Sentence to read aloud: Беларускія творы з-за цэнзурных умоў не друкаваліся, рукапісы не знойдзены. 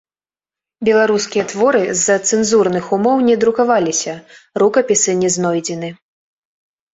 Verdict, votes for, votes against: accepted, 3, 0